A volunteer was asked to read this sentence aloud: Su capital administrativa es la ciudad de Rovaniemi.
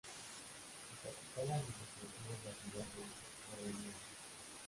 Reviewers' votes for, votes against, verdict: 0, 2, rejected